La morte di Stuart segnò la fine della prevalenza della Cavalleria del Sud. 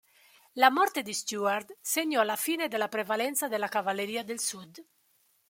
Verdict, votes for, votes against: accepted, 3, 0